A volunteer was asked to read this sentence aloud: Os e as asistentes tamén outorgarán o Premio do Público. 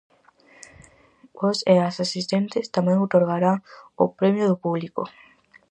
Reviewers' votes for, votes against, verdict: 2, 2, rejected